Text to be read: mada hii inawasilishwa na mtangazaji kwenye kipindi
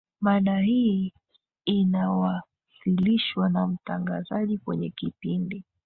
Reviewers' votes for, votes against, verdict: 2, 1, accepted